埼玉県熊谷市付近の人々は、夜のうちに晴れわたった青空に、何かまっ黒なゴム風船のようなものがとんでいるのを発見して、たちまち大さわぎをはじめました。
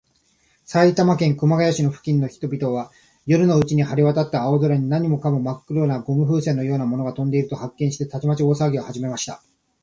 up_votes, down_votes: 1, 2